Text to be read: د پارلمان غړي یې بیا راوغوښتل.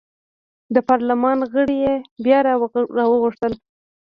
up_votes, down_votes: 2, 1